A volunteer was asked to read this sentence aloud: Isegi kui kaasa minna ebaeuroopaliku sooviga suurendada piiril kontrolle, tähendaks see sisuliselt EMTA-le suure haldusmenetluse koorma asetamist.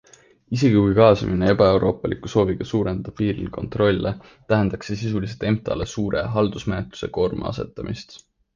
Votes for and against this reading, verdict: 2, 1, accepted